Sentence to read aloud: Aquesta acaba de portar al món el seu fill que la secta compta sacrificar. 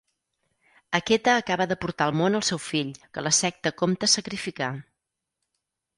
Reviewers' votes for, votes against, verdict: 0, 4, rejected